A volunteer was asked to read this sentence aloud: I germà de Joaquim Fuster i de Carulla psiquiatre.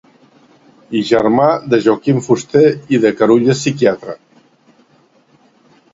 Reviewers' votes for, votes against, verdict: 2, 0, accepted